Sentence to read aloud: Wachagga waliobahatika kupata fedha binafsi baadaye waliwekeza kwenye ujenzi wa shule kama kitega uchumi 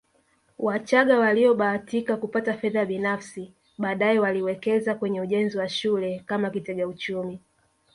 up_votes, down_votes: 2, 1